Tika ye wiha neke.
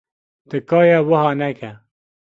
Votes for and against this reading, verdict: 2, 0, accepted